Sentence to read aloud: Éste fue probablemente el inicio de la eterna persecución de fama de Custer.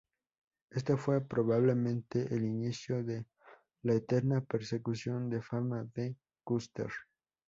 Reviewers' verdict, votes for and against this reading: rejected, 0, 2